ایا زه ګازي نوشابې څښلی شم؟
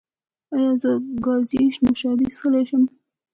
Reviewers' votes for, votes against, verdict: 0, 2, rejected